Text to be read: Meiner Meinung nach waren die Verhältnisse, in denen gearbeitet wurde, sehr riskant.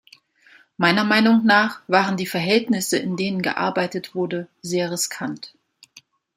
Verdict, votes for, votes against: accepted, 2, 0